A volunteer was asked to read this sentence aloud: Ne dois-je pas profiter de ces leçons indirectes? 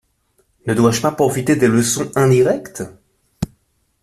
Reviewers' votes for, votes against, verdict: 1, 2, rejected